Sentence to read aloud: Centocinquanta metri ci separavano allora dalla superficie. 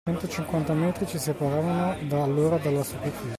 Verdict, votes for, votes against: rejected, 0, 2